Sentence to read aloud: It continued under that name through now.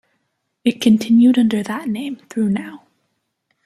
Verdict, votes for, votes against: accepted, 2, 0